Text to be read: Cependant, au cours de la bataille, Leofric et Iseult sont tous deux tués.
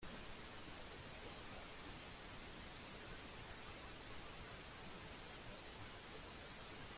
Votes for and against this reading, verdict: 0, 2, rejected